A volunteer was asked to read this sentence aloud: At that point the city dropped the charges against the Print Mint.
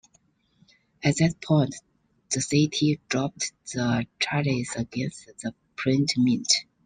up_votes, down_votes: 2, 0